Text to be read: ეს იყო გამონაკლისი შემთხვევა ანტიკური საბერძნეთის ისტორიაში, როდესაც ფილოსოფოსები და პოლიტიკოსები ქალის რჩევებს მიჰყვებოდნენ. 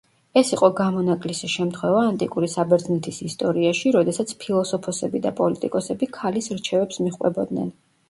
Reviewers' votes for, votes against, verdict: 2, 0, accepted